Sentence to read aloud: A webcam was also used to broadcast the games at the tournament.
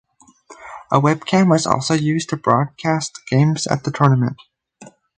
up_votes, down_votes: 2, 2